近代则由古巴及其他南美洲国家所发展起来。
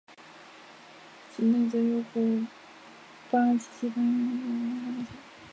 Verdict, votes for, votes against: accepted, 3, 0